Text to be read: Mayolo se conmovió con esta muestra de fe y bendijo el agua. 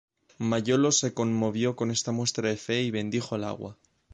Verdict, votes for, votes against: accepted, 2, 0